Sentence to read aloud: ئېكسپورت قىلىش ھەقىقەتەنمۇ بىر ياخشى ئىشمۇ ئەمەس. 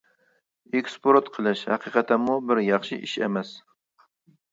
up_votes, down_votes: 1, 2